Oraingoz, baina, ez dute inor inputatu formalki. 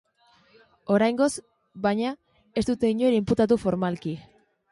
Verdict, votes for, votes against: accepted, 2, 0